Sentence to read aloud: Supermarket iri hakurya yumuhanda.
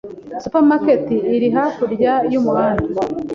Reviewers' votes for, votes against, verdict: 2, 0, accepted